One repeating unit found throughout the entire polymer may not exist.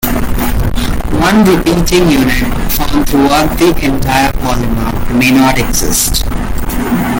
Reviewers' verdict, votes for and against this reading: accepted, 2, 1